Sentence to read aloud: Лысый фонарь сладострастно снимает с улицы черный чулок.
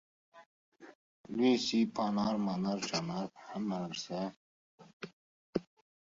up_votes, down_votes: 0, 2